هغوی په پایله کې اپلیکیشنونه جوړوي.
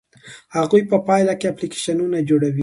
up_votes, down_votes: 2, 1